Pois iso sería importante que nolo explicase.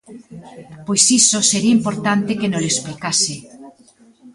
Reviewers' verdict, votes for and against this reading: rejected, 1, 2